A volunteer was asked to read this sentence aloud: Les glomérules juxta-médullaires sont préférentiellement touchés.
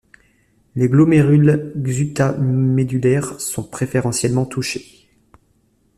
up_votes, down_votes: 2, 0